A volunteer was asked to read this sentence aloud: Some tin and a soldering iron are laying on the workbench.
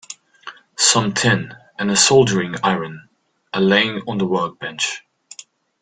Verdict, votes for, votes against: accepted, 2, 0